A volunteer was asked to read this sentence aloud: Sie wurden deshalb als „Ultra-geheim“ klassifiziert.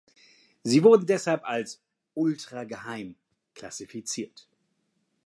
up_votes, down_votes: 2, 0